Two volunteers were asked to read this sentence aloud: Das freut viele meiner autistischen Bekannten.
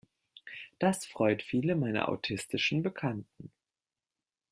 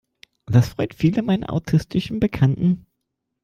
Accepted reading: first